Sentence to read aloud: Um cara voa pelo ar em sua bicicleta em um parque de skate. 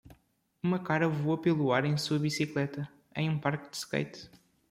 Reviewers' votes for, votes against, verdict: 0, 2, rejected